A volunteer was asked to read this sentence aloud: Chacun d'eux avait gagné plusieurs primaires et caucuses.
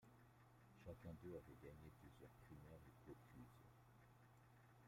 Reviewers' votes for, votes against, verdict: 2, 0, accepted